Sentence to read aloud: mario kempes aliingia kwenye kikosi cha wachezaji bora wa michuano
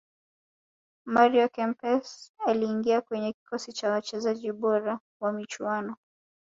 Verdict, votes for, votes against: accepted, 3, 1